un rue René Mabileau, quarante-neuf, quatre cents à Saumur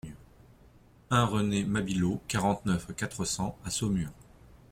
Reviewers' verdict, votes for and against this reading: rejected, 0, 2